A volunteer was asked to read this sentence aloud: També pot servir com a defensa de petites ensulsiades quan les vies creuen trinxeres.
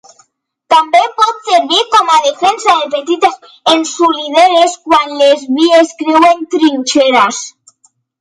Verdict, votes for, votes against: rejected, 1, 2